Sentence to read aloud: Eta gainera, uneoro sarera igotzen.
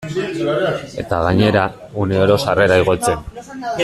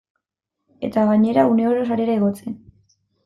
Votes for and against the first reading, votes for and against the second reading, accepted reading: 0, 2, 2, 0, second